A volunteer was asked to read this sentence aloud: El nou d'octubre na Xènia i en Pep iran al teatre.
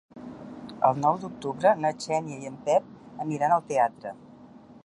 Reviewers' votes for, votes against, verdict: 1, 2, rejected